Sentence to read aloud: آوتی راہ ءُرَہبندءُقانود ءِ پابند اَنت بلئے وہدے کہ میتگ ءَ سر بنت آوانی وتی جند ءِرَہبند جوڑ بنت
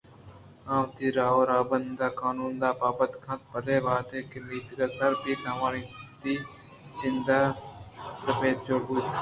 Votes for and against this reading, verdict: 2, 0, accepted